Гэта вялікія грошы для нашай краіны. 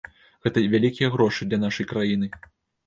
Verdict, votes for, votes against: rejected, 1, 2